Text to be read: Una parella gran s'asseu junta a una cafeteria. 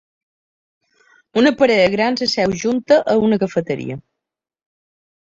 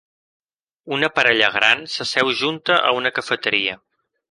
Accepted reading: second